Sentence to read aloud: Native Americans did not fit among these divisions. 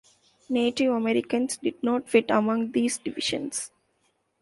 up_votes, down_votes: 2, 0